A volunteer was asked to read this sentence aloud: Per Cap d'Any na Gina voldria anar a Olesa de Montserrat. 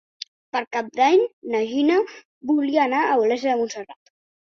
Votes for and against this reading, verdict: 1, 2, rejected